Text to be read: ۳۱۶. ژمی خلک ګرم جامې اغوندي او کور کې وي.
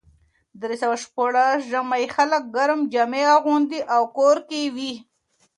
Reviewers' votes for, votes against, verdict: 0, 2, rejected